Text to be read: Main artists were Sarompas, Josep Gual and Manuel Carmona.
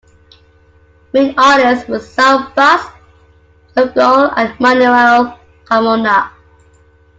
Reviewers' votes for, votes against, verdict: 0, 2, rejected